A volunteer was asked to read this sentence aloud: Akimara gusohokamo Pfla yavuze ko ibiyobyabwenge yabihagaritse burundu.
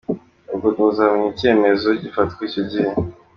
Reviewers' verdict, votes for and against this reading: rejected, 0, 2